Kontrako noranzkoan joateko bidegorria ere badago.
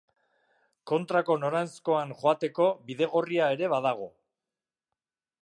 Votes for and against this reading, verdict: 2, 0, accepted